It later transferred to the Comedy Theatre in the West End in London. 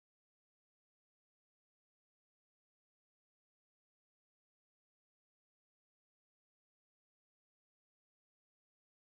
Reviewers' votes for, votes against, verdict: 0, 4, rejected